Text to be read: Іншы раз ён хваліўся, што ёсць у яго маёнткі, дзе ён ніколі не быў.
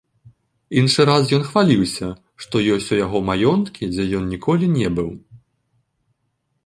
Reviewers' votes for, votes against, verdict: 0, 2, rejected